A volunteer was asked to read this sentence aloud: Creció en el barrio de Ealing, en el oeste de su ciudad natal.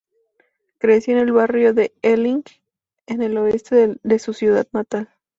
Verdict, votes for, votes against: accepted, 2, 0